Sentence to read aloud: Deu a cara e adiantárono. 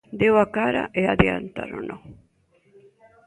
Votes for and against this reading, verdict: 2, 0, accepted